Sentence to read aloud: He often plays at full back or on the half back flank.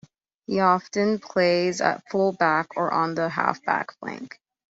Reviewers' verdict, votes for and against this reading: accepted, 2, 0